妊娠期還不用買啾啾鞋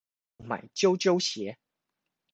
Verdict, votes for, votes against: rejected, 0, 2